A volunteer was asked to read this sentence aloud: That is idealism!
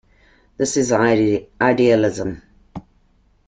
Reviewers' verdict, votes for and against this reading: rejected, 1, 2